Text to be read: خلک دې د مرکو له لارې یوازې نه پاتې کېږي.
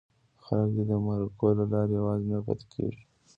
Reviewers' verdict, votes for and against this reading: accepted, 2, 0